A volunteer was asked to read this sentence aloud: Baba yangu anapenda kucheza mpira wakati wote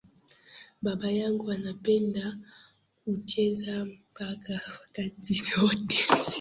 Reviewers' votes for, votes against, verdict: 0, 2, rejected